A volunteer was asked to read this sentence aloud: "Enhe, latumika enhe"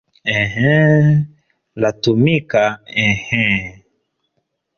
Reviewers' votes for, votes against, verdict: 3, 1, accepted